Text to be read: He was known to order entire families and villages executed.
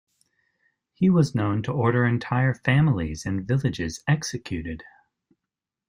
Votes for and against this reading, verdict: 2, 0, accepted